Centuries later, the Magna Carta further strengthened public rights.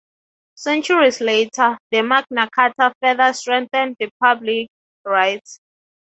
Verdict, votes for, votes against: accepted, 3, 0